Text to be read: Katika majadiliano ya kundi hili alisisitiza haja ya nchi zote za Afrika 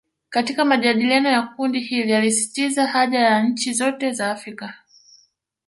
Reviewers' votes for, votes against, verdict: 2, 0, accepted